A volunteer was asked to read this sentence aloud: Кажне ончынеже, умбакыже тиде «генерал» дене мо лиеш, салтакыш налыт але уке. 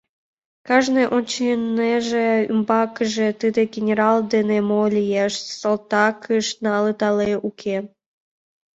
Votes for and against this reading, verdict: 1, 2, rejected